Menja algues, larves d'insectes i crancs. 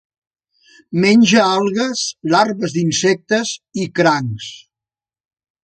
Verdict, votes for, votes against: accepted, 3, 0